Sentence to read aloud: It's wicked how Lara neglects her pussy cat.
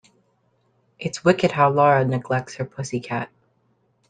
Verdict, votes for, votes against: accepted, 2, 0